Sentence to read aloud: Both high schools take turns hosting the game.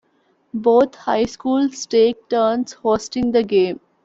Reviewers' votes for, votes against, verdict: 1, 2, rejected